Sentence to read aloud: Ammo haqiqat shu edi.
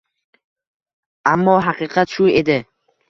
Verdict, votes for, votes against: accepted, 2, 0